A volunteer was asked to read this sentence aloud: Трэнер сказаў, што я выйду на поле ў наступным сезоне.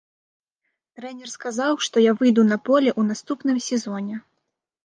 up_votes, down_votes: 2, 0